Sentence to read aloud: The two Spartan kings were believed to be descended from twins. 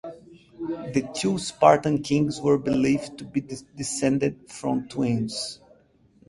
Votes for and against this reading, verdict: 4, 0, accepted